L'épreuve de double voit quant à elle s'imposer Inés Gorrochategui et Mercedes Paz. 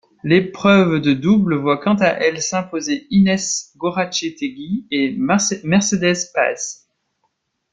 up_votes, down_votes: 0, 2